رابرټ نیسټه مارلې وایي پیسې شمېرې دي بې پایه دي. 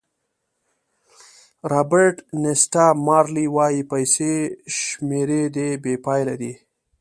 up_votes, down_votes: 2, 0